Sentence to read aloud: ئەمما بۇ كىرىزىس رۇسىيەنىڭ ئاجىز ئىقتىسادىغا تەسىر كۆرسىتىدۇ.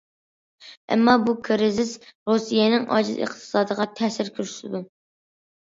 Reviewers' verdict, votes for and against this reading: accepted, 2, 0